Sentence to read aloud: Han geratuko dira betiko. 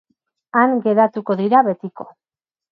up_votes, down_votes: 2, 2